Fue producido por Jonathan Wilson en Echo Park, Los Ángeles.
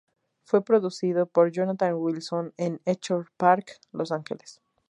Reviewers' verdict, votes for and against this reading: accepted, 2, 0